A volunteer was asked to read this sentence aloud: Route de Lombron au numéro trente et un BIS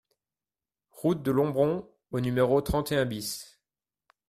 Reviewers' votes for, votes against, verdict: 2, 0, accepted